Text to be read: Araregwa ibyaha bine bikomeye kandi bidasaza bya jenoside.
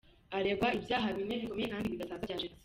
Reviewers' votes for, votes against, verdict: 2, 0, accepted